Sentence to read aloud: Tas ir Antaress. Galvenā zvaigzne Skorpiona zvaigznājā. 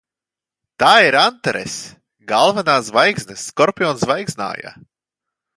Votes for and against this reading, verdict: 0, 2, rejected